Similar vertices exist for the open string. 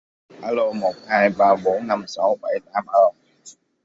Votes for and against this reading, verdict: 0, 2, rejected